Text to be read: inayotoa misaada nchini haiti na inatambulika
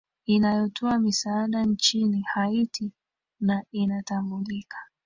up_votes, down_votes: 1, 2